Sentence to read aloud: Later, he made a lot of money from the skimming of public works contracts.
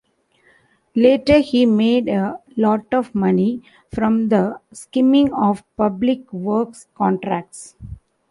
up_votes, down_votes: 2, 0